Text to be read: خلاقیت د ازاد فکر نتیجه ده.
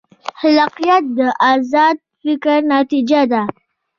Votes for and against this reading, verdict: 1, 2, rejected